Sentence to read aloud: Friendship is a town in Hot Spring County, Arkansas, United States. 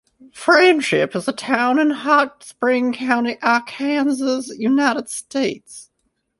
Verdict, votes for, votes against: rejected, 1, 2